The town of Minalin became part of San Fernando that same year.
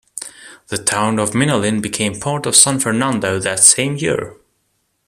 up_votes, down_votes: 2, 0